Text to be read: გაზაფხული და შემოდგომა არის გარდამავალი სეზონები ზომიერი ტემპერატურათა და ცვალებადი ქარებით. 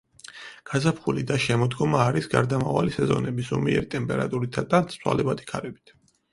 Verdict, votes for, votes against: rejected, 2, 4